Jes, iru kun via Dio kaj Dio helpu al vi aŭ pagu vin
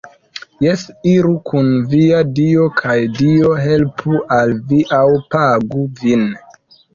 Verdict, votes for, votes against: accepted, 2, 0